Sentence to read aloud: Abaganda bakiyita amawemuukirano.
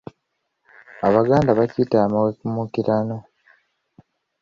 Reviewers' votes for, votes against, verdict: 2, 3, rejected